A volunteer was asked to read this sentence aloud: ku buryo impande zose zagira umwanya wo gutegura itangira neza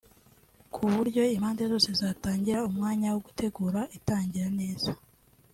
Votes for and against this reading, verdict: 2, 3, rejected